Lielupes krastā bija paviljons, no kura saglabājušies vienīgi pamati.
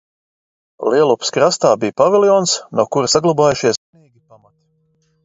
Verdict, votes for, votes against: rejected, 0, 2